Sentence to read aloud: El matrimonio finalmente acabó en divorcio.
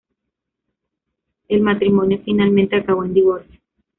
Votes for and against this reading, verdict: 1, 2, rejected